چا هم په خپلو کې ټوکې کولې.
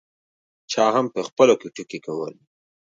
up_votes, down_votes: 2, 1